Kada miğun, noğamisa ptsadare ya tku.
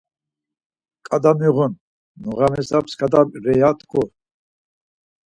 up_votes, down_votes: 2, 4